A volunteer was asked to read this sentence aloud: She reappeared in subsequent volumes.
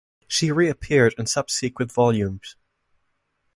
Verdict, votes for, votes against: accepted, 2, 0